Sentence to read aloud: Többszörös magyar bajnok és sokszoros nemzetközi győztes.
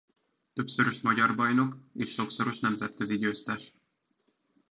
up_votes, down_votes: 2, 1